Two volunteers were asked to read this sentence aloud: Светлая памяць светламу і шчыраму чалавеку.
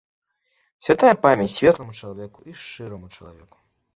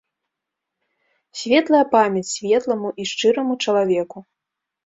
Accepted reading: second